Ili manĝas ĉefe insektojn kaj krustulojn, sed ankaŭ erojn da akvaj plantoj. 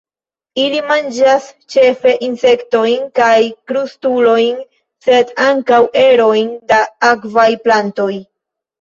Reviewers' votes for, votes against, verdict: 2, 0, accepted